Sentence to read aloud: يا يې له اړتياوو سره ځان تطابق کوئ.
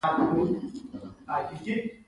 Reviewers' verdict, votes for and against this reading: rejected, 1, 2